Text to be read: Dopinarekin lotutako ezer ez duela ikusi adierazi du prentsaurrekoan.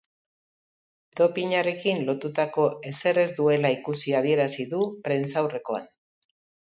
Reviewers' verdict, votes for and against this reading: accepted, 2, 0